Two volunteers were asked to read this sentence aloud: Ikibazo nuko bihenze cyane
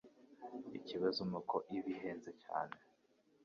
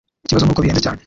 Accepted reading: first